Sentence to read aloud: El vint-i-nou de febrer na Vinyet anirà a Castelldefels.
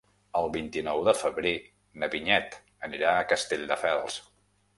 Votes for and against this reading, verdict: 2, 0, accepted